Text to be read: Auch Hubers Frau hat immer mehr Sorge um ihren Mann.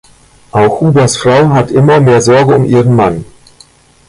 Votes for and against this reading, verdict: 2, 1, accepted